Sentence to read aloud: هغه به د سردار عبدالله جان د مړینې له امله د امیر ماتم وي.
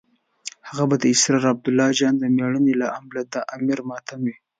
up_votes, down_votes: 2, 0